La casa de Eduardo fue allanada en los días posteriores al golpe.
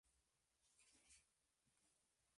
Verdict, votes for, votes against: rejected, 0, 2